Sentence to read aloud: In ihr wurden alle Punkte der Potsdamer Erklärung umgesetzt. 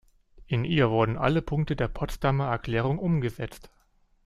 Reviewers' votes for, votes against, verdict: 2, 0, accepted